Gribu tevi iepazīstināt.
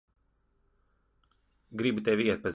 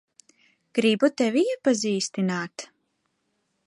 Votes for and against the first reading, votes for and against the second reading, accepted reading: 0, 3, 2, 0, second